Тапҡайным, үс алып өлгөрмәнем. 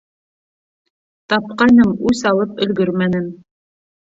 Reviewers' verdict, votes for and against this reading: rejected, 1, 2